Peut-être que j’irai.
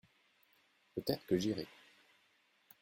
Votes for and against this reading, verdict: 2, 0, accepted